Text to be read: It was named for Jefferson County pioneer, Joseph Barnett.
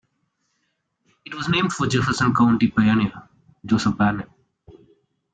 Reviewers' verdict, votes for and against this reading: accepted, 2, 0